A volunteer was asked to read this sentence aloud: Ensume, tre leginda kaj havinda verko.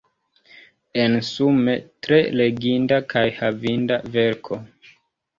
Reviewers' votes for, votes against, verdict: 2, 0, accepted